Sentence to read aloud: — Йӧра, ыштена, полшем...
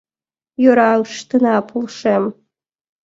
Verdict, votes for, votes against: accepted, 3, 1